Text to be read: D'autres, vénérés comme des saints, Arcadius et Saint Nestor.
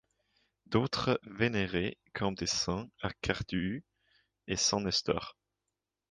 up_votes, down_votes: 2, 0